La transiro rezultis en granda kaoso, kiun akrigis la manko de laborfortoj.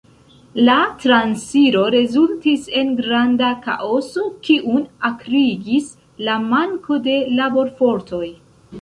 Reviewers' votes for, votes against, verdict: 1, 2, rejected